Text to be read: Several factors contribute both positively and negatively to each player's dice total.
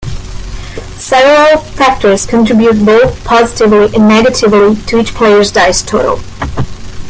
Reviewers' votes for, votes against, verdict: 2, 0, accepted